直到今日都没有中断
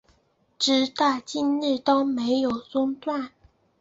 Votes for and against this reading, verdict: 2, 1, accepted